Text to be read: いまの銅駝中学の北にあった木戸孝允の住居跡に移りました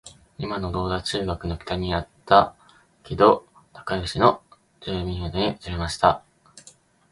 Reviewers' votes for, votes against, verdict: 1, 2, rejected